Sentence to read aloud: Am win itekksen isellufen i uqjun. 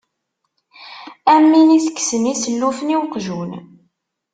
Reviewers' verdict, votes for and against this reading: accepted, 2, 0